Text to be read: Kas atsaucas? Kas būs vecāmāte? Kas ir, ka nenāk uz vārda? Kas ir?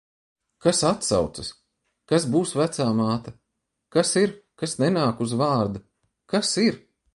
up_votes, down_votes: 0, 2